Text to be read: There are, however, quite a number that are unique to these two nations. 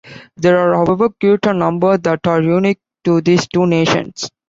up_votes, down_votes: 0, 2